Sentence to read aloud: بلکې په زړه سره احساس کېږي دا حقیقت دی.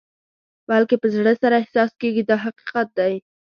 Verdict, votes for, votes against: accepted, 2, 0